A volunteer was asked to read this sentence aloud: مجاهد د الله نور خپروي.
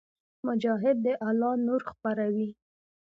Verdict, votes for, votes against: accepted, 2, 0